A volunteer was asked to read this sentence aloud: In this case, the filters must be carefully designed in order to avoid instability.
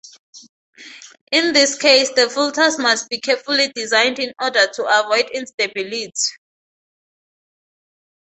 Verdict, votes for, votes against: rejected, 2, 2